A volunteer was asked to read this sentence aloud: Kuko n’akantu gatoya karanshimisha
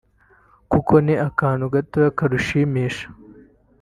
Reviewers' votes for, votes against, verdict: 2, 3, rejected